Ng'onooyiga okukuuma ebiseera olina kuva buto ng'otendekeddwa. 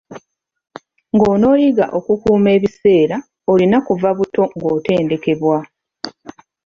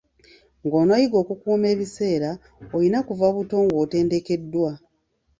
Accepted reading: second